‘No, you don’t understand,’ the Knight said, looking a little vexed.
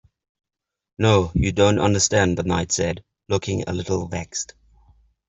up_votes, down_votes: 2, 0